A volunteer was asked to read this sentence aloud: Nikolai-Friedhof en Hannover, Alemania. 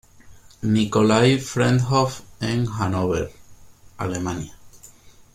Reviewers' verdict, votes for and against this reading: accepted, 3, 0